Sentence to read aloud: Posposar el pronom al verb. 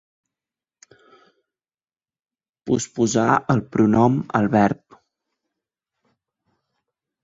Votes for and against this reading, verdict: 2, 0, accepted